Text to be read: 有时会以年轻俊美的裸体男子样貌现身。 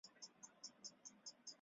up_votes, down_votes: 1, 4